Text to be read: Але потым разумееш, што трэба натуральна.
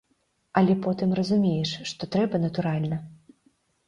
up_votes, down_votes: 2, 1